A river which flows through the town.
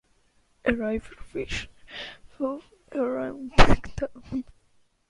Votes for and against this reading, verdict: 0, 2, rejected